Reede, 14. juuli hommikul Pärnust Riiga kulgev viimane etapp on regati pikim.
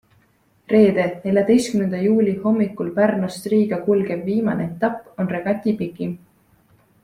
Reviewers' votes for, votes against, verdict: 0, 2, rejected